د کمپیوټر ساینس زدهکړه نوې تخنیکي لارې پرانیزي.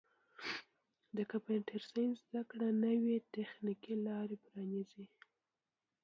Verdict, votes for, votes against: rejected, 1, 2